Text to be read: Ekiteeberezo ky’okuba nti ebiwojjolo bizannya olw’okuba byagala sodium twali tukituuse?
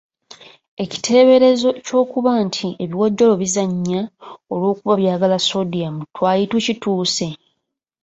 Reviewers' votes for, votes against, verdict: 2, 0, accepted